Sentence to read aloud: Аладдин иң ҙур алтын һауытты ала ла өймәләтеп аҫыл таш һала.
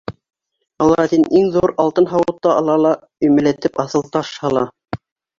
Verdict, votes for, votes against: accepted, 2, 0